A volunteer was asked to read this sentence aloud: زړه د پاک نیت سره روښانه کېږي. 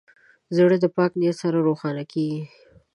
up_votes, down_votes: 2, 0